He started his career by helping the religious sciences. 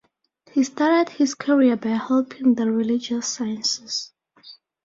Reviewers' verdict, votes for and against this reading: accepted, 4, 0